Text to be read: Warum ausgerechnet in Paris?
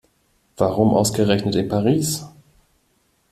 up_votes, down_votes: 3, 0